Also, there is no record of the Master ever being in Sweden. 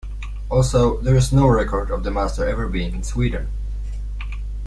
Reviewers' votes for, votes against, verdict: 2, 0, accepted